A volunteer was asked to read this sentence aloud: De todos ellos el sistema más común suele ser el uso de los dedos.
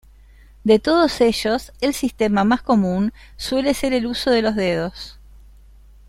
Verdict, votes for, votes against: accepted, 2, 0